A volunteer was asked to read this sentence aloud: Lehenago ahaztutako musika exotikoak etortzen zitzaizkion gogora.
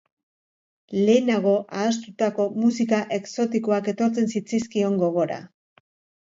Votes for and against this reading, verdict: 2, 0, accepted